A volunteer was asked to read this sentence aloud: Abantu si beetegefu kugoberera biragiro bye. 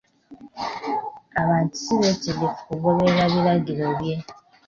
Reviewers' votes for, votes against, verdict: 2, 1, accepted